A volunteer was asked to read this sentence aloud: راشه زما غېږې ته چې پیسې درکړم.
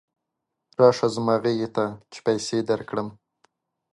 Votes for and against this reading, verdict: 3, 1, accepted